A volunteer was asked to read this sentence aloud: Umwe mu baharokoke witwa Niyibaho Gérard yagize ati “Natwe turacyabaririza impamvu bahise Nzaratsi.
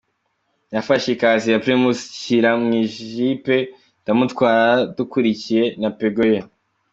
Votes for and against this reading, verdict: 1, 2, rejected